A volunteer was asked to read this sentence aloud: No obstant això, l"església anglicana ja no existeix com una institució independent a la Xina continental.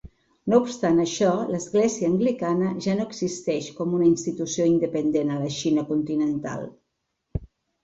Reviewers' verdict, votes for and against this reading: rejected, 1, 2